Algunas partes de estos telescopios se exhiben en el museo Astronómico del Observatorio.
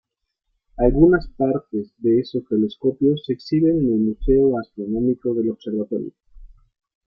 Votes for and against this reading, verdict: 1, 2, rejected